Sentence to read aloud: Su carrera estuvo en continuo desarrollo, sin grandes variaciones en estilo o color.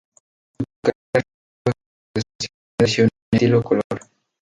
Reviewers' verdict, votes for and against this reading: rejected, 0, 4